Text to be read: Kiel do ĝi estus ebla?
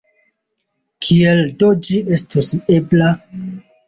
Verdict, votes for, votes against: accepted, 2, 1